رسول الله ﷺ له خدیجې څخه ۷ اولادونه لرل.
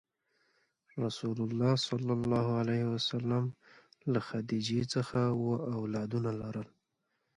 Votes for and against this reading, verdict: 0, 2, rejected